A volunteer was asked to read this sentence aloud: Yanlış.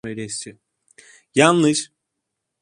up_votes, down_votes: 0, 2